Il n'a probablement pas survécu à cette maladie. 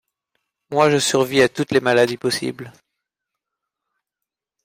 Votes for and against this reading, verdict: 0, 2, rejected